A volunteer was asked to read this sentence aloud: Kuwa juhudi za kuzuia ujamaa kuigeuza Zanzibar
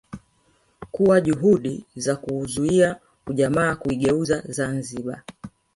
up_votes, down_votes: 1, 2